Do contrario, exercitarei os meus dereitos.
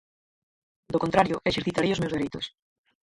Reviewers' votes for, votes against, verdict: 0, 4, rejected